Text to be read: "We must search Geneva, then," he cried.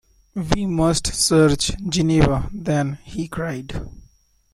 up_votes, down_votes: 2, 1